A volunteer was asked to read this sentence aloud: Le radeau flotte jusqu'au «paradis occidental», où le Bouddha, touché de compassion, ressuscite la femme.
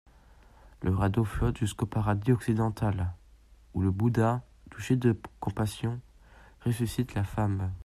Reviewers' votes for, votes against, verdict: 2, 1, accepted